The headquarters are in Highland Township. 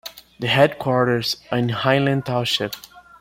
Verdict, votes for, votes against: accepted, 2, 1